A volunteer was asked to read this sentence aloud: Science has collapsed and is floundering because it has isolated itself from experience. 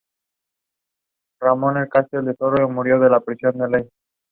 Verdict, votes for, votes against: rejected, 0, 2